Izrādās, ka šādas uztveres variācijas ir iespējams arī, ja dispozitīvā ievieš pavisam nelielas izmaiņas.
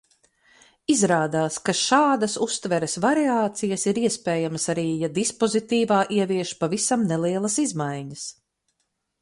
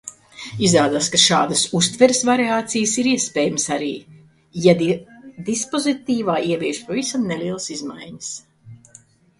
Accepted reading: first